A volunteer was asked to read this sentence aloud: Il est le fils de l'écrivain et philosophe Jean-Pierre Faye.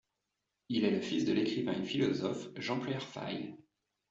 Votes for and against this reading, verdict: 2, 0, accepted